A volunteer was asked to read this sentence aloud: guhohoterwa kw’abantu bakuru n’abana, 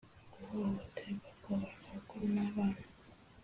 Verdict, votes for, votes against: accepted, 2, 0